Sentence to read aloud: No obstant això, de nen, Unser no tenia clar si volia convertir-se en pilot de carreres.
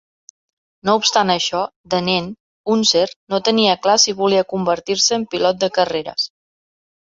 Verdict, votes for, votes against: accepted, 2, 0